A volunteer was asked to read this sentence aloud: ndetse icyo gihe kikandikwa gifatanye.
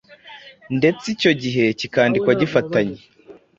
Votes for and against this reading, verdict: 2, 0, accepted